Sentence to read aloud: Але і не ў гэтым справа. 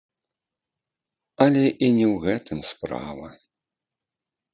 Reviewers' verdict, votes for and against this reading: rejected, 1, 2